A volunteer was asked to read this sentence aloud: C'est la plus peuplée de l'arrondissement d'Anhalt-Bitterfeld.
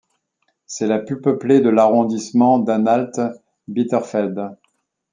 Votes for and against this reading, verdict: 2, 0, accepted